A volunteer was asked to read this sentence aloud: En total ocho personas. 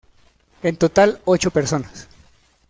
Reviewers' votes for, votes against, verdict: 2, 0, accepted